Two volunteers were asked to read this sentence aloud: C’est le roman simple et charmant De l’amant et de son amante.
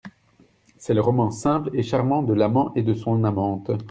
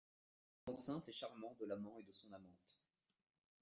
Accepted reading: first